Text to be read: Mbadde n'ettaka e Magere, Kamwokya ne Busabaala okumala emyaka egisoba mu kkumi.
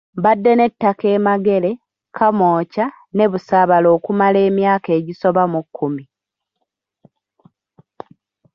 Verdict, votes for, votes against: rejected, 1, 2